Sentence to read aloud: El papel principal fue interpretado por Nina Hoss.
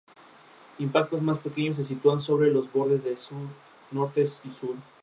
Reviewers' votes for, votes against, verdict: 0, 2, rejected